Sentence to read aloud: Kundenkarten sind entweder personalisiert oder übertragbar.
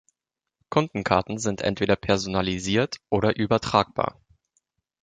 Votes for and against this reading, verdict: 2, 0, accepted